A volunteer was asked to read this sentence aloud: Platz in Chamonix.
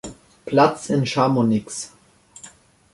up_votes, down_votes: 1, 2